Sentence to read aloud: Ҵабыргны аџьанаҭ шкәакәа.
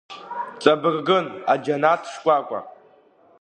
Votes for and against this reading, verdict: 1, 2, rejected